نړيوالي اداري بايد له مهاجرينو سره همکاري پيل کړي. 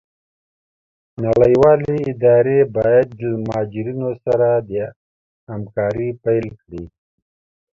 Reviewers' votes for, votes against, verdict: 2, 1, accepted